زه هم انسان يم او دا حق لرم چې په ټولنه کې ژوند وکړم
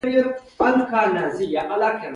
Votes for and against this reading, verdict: 0, 2, rejected